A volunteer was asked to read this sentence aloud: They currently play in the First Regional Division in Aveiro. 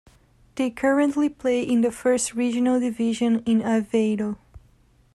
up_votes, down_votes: 2, 0